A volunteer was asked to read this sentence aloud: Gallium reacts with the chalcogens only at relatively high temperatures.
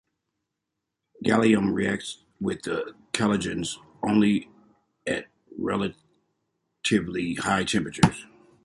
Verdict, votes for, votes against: accepted, 2, 0